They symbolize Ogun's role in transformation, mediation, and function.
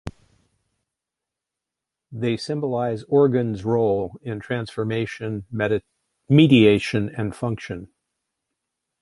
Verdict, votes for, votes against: rejected, 0, 2